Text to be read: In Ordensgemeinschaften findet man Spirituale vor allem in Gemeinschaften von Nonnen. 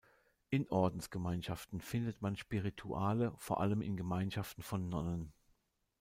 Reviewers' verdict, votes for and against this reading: rejected, 0, 2